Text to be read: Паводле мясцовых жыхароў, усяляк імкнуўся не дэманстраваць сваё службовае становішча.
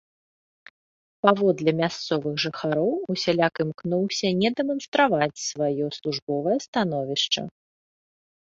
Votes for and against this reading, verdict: 2, 0, accepted